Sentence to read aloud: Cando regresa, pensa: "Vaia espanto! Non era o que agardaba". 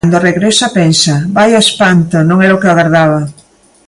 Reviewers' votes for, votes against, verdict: 2, 1, accepted